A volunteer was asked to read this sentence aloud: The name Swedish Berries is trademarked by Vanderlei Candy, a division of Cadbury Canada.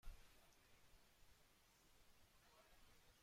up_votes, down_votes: 0, 2